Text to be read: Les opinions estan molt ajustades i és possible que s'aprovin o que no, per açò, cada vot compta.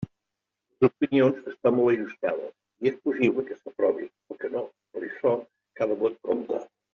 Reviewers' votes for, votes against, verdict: 2, 1, accepted